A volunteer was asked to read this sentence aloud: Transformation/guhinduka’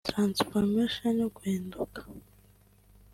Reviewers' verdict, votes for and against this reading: accepted, 2, 0